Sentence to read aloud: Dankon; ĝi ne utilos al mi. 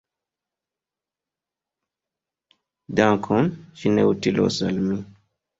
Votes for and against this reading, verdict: 2, 0, accepted